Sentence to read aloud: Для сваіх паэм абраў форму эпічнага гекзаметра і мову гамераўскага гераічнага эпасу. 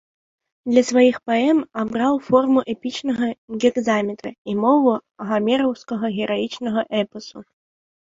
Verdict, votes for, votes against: accepted, 3, 0